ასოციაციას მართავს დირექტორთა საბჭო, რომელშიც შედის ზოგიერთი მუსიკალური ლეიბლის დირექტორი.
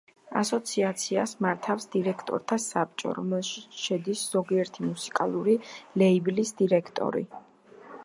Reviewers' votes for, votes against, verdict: 2, 0, accepted